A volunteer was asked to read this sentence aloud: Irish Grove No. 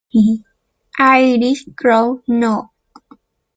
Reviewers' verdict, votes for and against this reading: rejected, 1, 2